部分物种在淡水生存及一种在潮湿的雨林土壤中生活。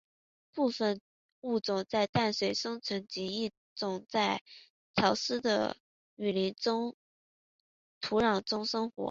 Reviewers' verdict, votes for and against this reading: accepted, 2, 0